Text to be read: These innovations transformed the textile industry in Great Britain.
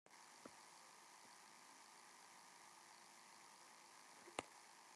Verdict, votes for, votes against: rejected, 0, 2